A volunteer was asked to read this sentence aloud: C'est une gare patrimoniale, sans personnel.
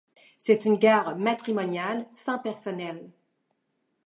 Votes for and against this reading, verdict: 0, 2, rejected